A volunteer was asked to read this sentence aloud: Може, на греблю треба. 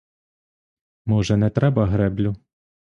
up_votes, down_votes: 0, 2